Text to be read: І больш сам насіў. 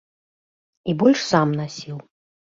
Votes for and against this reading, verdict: 2, 0, accepted